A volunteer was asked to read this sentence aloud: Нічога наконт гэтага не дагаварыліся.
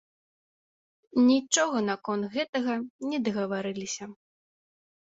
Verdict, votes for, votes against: accepted, 2, 0